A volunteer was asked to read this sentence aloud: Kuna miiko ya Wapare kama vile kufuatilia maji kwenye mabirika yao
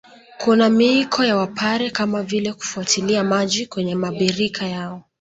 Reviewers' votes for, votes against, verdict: 2, 0, accepted